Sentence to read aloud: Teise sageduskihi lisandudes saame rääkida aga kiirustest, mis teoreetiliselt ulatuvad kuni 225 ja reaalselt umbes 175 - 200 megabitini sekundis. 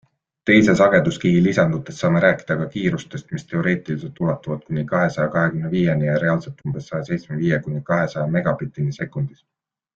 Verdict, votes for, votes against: rejected, 0, 2